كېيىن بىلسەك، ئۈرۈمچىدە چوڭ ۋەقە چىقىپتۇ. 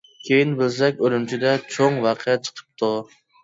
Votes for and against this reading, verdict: 2, 0, accepted